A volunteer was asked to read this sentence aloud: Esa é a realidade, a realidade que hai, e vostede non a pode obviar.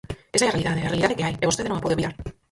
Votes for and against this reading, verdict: 0, 4, rejected